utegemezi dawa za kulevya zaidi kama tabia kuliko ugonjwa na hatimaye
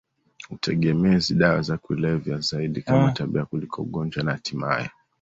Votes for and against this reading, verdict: 2, 1, accepted